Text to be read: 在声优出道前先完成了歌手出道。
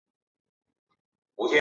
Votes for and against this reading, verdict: 1, 2, rejected